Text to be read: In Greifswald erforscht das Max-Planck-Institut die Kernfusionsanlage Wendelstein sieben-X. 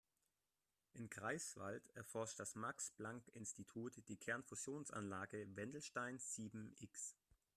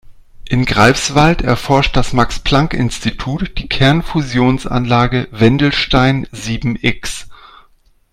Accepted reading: second